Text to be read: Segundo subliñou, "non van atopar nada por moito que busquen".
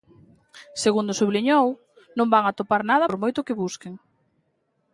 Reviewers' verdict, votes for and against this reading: accepted, 2, 0